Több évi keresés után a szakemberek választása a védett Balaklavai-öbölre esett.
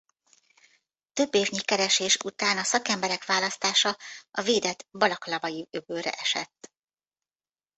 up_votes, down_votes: 0, 2